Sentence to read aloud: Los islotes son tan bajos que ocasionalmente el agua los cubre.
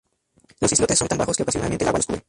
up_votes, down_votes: 0, 2